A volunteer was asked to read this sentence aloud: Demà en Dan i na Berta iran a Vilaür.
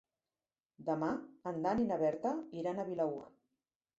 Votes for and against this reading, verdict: 5, 1, accepted